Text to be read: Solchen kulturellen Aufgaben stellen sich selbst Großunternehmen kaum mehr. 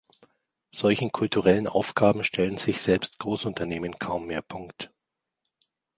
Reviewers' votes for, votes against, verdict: 0, 2, rejected